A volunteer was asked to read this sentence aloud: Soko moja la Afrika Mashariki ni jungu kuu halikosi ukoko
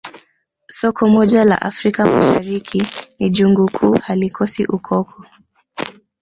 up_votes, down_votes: 0, 2